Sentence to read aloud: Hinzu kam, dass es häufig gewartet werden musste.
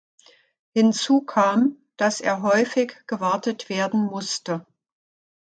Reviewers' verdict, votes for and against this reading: rejected, 0, 2